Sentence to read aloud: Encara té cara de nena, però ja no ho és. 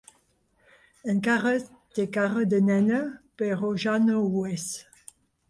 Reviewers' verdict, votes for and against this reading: accepted, 3, 0